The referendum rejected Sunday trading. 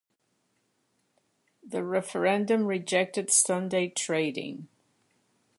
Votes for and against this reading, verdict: 2, 0, accepted